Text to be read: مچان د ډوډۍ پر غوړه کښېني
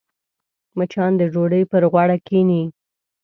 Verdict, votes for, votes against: accepted, 2, 0